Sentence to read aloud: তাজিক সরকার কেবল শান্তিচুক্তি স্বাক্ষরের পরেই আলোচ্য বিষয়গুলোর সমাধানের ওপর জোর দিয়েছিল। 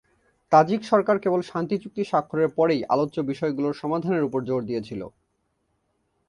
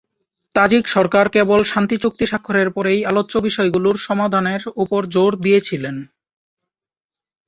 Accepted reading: first